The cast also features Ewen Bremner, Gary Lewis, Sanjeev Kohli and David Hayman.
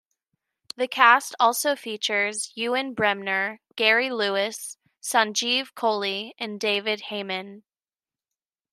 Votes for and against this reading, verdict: 2, 0, accepted